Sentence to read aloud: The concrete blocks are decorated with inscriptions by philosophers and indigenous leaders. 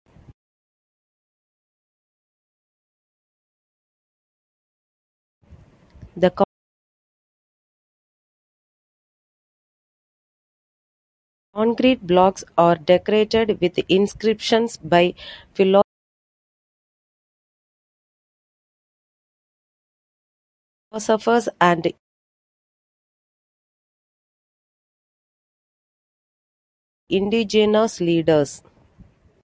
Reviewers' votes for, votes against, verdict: 0, 2, rejected